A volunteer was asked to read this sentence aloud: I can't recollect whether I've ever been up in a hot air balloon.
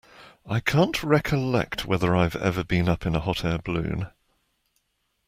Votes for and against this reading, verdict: 2, 1, accepted